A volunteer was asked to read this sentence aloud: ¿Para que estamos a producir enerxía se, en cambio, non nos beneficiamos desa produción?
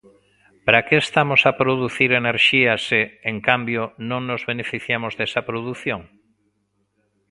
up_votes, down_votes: 2, 0